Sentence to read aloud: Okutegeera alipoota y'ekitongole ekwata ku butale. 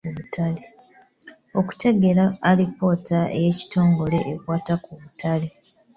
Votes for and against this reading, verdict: 0, 2, rejected